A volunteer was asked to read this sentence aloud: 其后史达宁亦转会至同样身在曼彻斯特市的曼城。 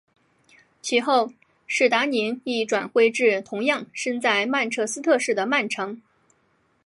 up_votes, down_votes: 6, 0